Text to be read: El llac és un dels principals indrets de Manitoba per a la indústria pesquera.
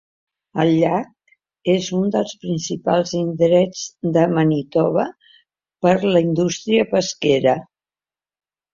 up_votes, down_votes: 2, 3